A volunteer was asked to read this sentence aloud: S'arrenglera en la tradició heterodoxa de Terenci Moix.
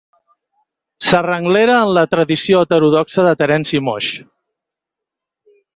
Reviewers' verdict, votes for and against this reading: accepted, 4, 0